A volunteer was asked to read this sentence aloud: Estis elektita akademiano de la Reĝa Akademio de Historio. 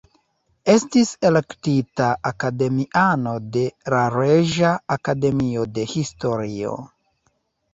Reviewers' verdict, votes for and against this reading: accepted, 2, 0